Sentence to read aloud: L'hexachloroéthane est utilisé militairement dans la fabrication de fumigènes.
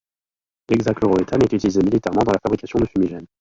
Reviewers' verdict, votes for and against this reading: accepted, 2, 0